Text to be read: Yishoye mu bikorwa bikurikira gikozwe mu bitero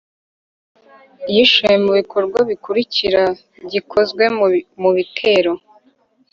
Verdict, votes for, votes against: rejected, 1, 2